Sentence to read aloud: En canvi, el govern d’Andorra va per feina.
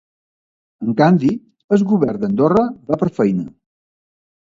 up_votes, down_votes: 0, 2